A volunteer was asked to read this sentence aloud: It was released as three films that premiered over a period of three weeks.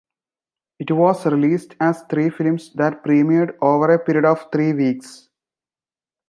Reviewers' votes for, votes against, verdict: 2, 0, accepted